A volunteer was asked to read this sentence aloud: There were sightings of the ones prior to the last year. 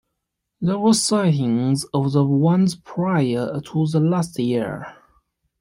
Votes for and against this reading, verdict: 2, 0, accepted